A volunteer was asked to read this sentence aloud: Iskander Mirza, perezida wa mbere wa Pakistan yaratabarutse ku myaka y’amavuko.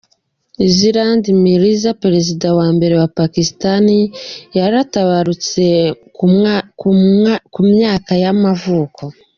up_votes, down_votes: 0, 2